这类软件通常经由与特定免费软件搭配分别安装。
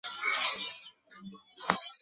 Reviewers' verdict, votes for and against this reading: rejected, 0, 2